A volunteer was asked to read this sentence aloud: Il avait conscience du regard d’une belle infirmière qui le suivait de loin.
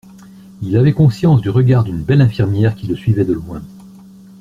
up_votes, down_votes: 2, 0